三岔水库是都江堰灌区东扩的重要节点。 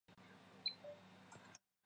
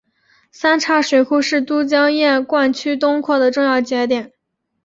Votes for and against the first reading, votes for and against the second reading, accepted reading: 0, 2, 2, 0, second